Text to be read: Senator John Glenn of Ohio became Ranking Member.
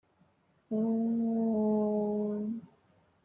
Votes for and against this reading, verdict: 0, 2, rejected